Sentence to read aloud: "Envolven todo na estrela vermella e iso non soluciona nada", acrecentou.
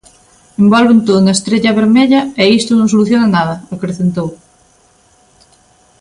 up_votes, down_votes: 0, 2